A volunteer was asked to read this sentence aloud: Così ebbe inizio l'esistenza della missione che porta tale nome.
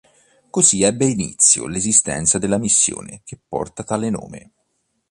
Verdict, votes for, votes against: accepted, 2, 0